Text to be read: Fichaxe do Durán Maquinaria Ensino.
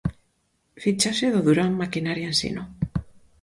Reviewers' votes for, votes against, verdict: 4, 0, accepted